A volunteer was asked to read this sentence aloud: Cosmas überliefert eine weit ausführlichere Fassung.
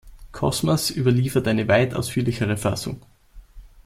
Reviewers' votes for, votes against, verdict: 2, 0, accepted